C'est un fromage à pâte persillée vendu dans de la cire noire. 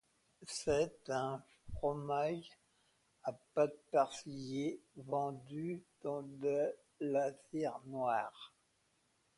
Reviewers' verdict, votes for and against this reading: rejected, 1, 2